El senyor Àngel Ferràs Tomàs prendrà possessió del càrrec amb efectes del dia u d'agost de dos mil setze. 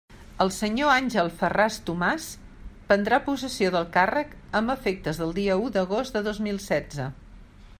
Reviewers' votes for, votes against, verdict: 3, 0, accepted